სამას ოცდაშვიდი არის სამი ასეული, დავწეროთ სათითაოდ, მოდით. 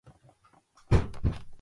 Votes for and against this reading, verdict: 0, 3, rejected